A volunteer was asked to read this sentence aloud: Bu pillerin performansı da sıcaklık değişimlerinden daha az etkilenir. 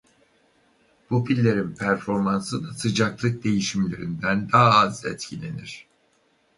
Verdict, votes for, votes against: rejected, 2, 2